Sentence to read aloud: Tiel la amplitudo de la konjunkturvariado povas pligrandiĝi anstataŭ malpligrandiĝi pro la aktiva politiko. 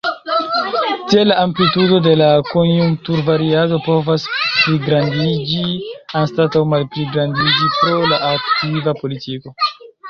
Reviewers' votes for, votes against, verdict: 0, 2, rejected